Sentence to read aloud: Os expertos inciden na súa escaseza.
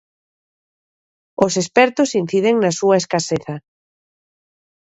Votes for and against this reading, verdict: 2, 0, accepted